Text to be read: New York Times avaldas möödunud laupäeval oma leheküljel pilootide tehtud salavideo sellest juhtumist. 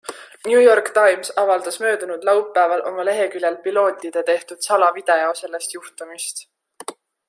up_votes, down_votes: 2, 0